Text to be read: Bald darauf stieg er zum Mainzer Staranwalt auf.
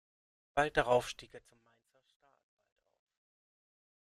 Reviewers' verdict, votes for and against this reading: rejected, 0, 2